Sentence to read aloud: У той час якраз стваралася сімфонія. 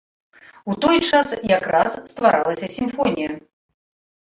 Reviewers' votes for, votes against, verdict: 2, 0, accepted